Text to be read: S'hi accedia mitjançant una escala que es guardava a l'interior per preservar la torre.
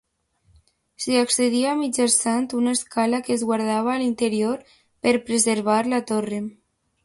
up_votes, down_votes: 2, 0